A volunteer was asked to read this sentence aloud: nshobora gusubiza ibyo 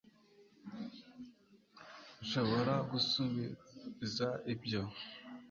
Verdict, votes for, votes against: accepted, 2, 0